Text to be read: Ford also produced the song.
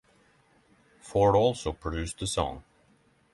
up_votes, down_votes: 3, 0